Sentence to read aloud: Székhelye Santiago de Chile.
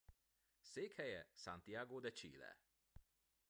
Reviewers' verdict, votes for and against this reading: accepted, 2, 1